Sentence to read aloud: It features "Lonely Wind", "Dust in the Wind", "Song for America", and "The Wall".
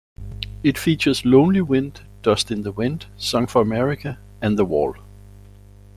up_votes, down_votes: 2, 0